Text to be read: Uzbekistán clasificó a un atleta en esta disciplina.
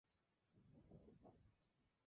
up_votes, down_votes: 0, 2